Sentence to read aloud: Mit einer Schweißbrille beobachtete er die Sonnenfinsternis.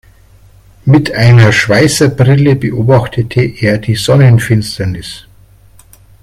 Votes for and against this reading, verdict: 0, 3, rejected